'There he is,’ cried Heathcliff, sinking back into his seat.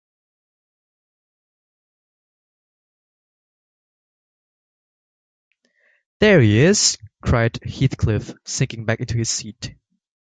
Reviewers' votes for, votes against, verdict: 3, 1, accepted